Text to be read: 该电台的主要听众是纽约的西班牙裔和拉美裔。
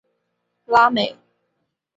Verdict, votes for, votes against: rejected, 0, 2